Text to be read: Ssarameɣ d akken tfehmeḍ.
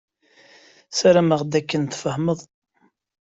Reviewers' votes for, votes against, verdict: 2, 0, accepted